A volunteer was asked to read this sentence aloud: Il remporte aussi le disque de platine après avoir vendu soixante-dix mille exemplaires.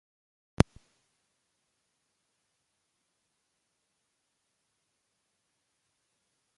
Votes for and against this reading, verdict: 0, 2, rejected